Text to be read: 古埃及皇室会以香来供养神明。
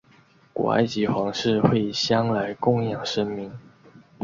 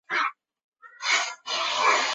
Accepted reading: first